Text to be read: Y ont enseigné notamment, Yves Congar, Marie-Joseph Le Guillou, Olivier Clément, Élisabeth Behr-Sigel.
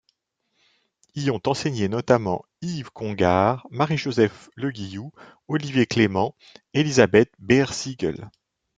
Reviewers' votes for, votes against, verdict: 2, 0, accepted